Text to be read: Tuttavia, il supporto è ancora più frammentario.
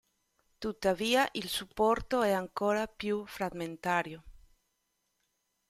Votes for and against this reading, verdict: 2, 0, accepted